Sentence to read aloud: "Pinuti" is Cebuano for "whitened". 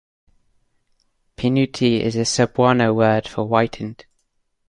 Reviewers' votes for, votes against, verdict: 0, 2, rejected